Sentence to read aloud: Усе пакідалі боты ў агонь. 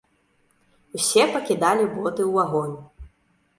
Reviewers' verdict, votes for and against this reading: accepted, 2, 0